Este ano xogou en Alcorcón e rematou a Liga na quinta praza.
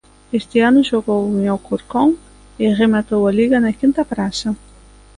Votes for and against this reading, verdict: 2, 0, accepted